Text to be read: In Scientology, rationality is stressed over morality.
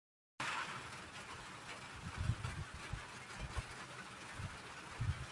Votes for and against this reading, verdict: 0, 2, rejected